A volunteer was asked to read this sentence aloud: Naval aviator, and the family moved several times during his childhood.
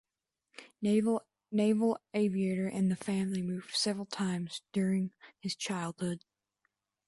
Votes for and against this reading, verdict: 0, 2, rejected